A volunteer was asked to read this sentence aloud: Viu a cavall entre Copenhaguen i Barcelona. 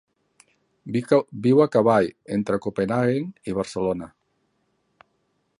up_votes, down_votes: 0, 2